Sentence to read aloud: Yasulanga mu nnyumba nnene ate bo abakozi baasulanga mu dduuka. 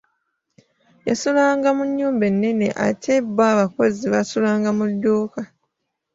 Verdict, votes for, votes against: rejected, 0, 2